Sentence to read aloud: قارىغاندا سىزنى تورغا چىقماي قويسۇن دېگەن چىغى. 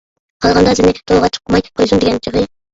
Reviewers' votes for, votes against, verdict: 0, 2, rejected